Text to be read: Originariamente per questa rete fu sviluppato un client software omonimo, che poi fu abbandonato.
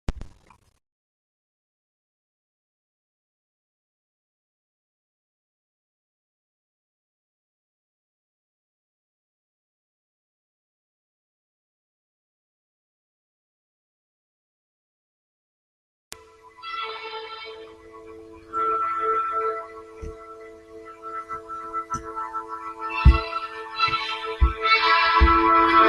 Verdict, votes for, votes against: rejected, 0, 2